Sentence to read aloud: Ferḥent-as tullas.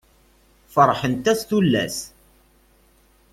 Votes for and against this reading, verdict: 2, 0, accepted